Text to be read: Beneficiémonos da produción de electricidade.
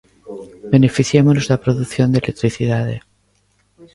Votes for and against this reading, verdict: 2, 0, accepted